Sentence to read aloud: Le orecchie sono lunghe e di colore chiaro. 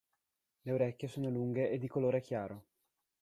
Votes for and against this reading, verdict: 2, 0, accepted